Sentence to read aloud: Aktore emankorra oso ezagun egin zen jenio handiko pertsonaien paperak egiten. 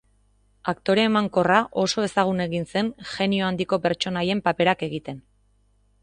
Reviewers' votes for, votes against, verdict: 3, 0, accepted